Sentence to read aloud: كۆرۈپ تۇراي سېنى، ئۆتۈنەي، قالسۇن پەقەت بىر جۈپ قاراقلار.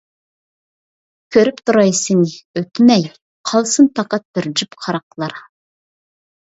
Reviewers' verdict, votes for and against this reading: rejected, 0, 2